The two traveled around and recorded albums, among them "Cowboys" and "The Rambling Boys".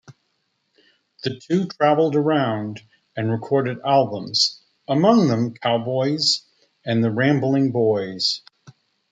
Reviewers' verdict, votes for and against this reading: rejected, 1, 2